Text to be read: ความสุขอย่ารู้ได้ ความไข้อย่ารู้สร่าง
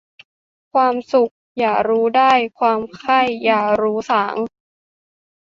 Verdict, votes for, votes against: rejected, 1, 2